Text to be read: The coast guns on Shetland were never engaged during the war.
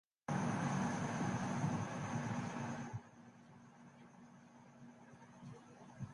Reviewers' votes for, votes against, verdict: 0, 2, rejected